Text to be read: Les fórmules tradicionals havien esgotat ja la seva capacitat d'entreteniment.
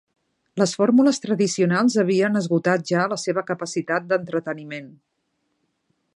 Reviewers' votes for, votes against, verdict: 3, 0, accepted